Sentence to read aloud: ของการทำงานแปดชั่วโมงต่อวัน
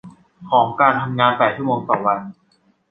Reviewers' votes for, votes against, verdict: 2, 0, accepted